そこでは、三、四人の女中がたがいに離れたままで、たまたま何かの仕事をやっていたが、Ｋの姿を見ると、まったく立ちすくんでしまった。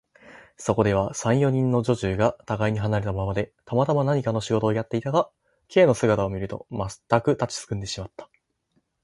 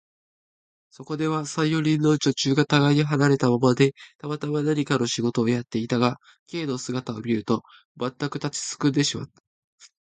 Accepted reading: first